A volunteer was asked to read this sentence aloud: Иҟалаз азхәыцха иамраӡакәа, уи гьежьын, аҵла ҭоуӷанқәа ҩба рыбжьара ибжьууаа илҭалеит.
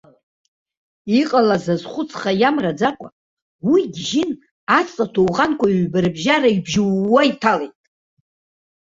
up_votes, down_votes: 0, 2